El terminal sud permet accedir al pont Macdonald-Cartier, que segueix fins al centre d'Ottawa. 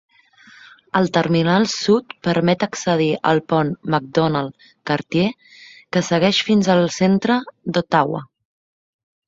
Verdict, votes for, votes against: accepted, 2, 0